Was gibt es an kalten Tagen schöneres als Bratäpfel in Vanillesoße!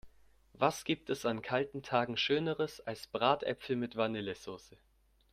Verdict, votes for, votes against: rejected, 0, 2